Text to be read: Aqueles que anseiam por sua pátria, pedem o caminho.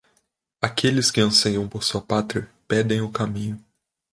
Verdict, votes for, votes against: accepted, 2, 1